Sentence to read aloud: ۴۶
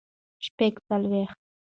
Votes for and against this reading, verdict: 0, 2, rejected